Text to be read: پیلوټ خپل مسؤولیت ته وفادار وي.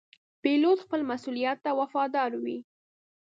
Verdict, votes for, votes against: rejected, 1, 2